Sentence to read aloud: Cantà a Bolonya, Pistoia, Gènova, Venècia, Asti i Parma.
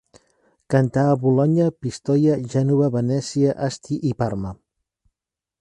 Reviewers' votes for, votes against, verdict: 2, 0, accepted